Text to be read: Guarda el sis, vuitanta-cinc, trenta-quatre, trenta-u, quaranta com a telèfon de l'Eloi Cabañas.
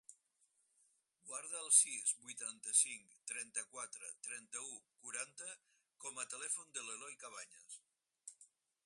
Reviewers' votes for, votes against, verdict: 4, 2, accepted